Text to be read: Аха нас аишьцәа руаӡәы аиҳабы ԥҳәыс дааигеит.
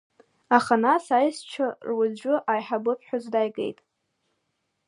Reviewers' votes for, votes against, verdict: 2, 1, accepted